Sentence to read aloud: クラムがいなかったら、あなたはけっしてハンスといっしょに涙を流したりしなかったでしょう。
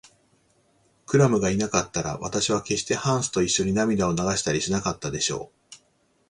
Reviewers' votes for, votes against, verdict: 6, 2, accepted